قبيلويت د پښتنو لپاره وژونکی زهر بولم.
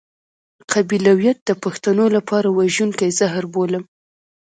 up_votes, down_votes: 2, 1